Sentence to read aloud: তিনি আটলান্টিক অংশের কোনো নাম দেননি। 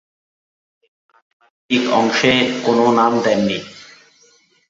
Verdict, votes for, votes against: rejected, 0, 4